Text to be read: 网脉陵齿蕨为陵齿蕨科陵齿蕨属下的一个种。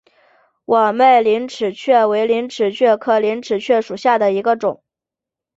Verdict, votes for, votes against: accepted, 3, 1